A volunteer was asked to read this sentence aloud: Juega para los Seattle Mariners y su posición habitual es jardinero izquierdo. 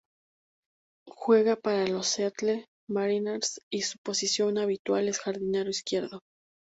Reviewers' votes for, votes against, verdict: 2, 2, rejected